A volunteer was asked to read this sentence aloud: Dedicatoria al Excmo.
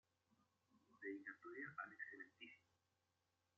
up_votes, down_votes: 0, 2